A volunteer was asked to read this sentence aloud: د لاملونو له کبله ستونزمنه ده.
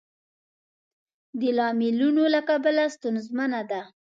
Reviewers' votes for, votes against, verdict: 2, 0, accepted